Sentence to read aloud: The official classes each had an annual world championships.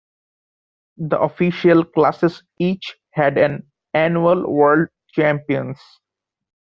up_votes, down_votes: 0, 2